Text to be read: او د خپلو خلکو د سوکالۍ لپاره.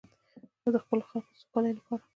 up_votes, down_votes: 2, 1